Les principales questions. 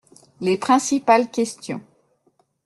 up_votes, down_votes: 2, 0